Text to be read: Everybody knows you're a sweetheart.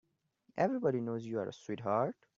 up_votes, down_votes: 2, 0